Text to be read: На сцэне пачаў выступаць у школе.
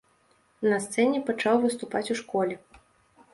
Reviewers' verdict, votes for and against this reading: accepted, 2, 0